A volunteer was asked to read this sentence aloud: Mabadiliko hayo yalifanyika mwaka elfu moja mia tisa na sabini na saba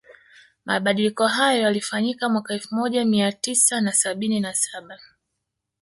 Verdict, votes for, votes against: accepted, 2, 0